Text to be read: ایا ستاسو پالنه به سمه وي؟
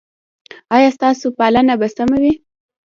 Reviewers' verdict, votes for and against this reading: rejected, 0, 2